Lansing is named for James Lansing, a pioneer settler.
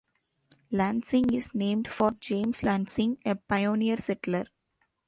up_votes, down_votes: 2, 1